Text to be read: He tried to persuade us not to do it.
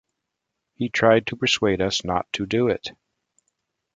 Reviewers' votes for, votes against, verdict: 2, 0, accepted